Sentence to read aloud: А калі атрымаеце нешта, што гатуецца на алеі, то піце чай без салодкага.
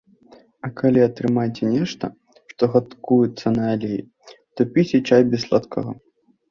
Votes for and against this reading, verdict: 0, 2, rejected